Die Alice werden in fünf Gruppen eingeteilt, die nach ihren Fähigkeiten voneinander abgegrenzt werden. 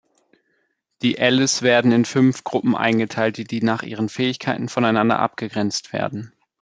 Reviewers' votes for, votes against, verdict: 1, 2, rejected